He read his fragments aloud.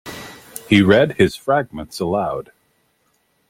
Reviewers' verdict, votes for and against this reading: accepted, 2, 0